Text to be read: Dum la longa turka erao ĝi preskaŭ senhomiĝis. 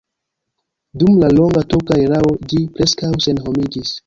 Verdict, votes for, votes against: rejected, 0, 2